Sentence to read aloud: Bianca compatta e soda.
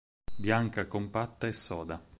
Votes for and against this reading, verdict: 4, 2, accepted